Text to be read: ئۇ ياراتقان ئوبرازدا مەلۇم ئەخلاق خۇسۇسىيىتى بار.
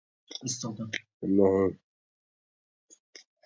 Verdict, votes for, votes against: rejected, 0, 2